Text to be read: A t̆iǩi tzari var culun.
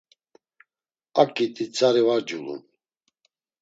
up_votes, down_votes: 0, 2